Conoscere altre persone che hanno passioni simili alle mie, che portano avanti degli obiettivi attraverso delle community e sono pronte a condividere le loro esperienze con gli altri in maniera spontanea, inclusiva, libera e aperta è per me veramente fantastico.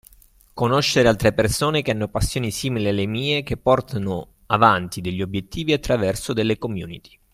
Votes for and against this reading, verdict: 1, 2, rejected